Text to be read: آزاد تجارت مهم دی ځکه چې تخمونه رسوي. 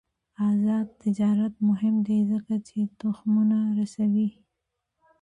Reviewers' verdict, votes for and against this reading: accepted, 2, 0